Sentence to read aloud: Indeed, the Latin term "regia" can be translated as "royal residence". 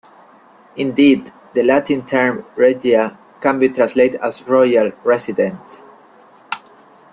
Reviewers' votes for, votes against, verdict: 2, 0, accepted